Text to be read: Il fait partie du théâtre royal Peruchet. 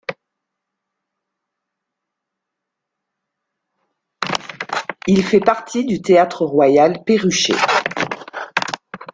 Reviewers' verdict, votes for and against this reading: rejected, 1, 2